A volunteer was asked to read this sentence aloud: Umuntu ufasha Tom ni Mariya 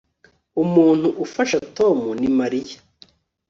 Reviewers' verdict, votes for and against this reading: accepted, 2, 0